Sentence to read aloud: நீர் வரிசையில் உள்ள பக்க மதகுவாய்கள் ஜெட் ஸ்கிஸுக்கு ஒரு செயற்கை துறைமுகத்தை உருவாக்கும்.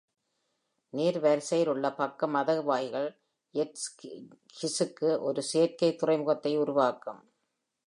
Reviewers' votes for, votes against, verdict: 1, 2, rejected